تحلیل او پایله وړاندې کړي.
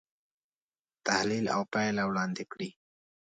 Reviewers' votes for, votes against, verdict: 2, 0, accepted